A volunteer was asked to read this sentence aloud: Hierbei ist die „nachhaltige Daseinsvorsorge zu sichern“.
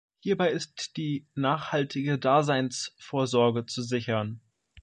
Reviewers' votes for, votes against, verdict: 2, 1, accepted